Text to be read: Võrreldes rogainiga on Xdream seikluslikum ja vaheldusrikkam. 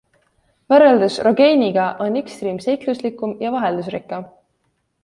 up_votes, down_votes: 2, 0